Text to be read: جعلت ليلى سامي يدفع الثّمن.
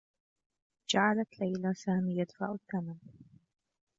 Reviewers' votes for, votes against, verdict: 0, 2, rejected